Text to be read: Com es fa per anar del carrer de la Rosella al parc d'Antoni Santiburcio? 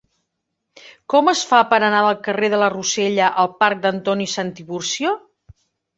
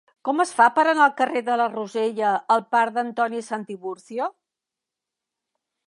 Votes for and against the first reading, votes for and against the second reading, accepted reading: 2, 0, 0, 2, first